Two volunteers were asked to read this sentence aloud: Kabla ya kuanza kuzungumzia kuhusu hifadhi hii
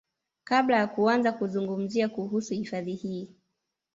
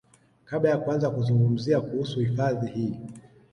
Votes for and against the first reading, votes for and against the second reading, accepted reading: 0, 2, 2, 0, second